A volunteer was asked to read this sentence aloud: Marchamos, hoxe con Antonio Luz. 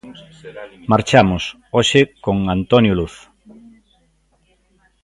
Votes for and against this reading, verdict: 2, 1, accepted